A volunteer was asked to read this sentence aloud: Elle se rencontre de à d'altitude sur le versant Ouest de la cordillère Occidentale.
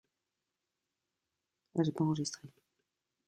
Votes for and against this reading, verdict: 0, 2, rejected